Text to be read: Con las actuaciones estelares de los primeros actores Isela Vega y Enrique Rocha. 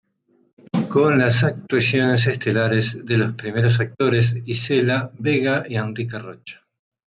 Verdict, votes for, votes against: rejected, 0, 2